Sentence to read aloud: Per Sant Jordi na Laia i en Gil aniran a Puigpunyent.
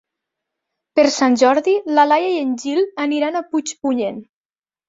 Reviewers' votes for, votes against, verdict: 5, 2, accepted